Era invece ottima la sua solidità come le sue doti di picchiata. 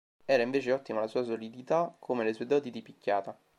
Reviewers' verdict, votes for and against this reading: accepted, 5, 0